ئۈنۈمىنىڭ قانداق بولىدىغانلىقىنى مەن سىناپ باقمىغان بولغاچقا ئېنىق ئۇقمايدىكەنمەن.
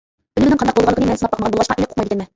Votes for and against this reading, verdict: 0, 2, rejected